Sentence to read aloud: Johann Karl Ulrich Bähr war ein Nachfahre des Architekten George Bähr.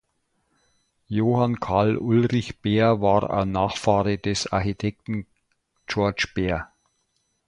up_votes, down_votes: 1, 2